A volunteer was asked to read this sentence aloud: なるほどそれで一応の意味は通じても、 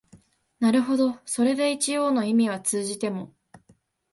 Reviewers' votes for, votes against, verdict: 2, 0, accepted